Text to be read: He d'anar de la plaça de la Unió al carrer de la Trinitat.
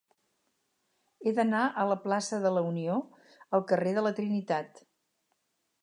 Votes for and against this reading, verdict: 2, 2, rejected